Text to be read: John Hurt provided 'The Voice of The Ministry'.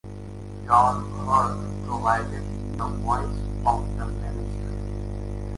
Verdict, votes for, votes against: accepted, 2, 0